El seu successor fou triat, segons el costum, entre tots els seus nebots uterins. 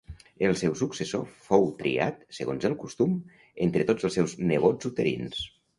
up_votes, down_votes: 2, 0